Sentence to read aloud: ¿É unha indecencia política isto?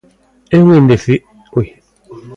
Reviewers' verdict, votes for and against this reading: rejected, 0, 2